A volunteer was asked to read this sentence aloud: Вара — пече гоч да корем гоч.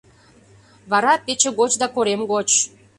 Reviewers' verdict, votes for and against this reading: accepted, 2, 0